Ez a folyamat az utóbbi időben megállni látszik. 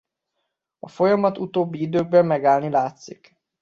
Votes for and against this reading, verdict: 0, 2, rejected